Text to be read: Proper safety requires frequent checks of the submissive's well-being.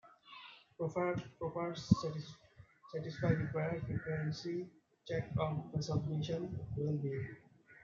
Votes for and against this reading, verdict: 0, 2, rejected